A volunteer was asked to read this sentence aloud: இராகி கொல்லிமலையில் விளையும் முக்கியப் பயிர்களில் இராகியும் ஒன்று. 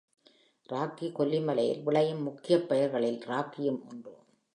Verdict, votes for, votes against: rejected, 1, 2